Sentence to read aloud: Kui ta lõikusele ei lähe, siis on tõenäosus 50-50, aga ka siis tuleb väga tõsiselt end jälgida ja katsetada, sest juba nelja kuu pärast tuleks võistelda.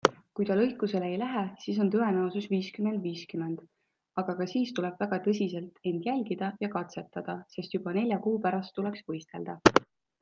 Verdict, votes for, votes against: rejected, 0, 2